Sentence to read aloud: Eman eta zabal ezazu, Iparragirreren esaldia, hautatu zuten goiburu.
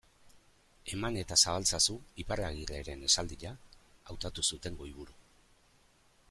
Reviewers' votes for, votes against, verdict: 0, 2, rejected